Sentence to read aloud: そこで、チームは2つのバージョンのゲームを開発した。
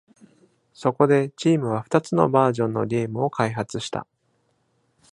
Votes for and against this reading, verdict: 0, 2, rejected